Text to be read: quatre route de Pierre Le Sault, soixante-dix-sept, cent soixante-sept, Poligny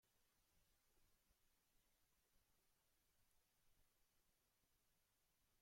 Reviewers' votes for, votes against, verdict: 0, 2, rejected